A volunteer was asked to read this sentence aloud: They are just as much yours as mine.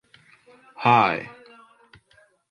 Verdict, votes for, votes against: rejected, 0, 4